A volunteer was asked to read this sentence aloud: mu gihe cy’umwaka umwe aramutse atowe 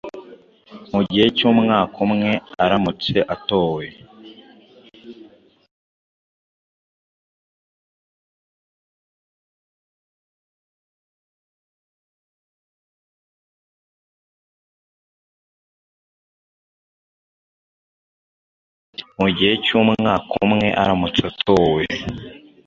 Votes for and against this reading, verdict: 1, 2, rejected